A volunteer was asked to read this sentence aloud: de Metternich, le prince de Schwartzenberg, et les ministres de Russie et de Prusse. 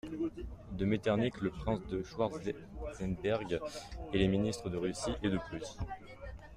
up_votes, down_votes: 0, 2